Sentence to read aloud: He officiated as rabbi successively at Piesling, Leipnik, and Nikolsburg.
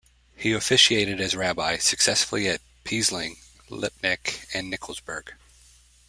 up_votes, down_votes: 0, 2